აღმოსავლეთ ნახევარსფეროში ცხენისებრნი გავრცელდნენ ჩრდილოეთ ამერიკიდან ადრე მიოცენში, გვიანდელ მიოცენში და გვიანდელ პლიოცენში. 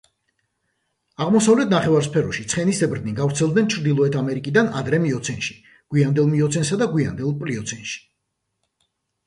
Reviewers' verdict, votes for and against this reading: accepted, 2, 0